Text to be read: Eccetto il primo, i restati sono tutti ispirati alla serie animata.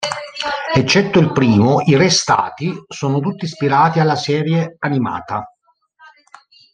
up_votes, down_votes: 2, 0